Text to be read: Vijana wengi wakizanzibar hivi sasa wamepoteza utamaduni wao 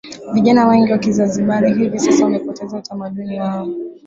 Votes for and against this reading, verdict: 0, 2, rejected